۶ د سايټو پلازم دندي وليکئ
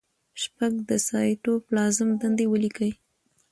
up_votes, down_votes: 0, 2